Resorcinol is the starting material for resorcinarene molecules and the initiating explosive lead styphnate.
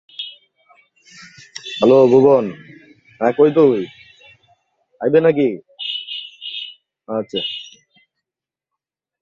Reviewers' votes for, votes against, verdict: 0, 2, rejected